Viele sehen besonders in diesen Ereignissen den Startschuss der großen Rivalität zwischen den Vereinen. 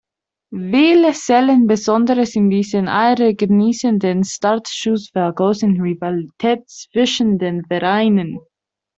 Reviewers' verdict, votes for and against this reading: rejected, 1, 2